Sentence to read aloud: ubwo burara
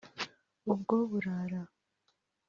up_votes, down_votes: 2, 0